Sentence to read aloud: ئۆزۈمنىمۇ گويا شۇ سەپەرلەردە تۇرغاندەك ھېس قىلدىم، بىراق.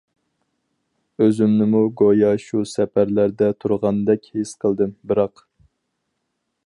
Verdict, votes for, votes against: accepted, 4, 0